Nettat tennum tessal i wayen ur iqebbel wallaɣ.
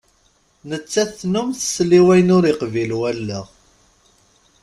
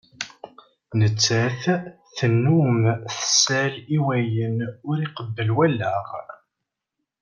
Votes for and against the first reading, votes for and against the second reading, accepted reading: 0, 2, 2, 1, second